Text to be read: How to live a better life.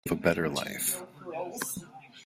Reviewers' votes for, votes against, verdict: 0, 2, rejected